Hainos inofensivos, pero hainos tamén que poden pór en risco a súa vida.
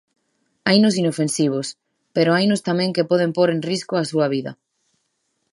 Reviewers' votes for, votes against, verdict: 2, 0, accepted